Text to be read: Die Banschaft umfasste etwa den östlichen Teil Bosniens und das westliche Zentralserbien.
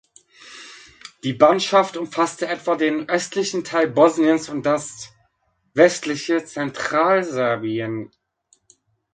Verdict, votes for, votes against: accepted, 2, 0